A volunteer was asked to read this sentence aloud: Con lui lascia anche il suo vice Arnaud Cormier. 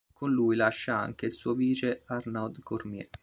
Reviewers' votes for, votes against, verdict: 2, 0, accepted